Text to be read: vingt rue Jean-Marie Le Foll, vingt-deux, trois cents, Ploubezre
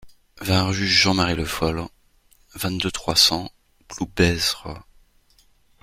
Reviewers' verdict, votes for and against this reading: accepted, 2, 0